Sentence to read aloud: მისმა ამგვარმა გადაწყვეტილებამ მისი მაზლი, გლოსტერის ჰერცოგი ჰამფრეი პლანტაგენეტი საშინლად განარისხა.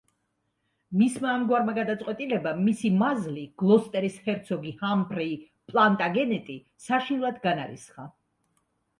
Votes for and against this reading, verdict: 2, 0, accepted